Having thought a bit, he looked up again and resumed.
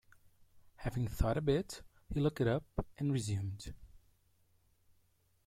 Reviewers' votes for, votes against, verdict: 1, 2, rejected